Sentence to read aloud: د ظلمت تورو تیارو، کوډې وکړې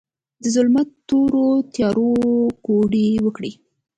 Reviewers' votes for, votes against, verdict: 2, 0, accepted